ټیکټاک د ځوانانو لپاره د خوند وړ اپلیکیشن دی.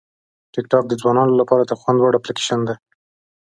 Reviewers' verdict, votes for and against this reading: accepted, 2, 0